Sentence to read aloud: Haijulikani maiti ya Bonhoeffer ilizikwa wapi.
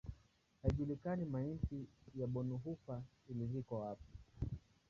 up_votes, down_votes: 3, 6